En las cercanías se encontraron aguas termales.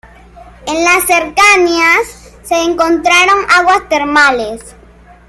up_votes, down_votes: 0, 2